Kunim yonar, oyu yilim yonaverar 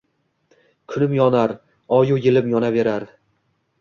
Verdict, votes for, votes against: rejected, 1, 2